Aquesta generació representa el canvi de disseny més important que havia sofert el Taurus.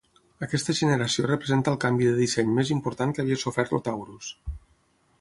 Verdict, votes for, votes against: rejected, 0, 6